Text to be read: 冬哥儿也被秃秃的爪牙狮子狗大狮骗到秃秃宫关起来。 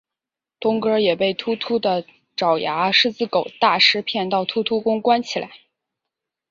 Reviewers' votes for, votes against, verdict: 2, 0, accepted